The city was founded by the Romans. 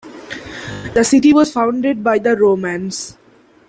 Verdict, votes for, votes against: accepted, 2, 0